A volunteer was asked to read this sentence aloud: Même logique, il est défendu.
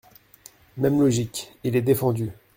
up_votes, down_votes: 2, 0